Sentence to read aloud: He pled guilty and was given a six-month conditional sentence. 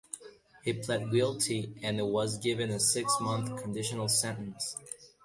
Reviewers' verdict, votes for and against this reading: accepted, 2, 0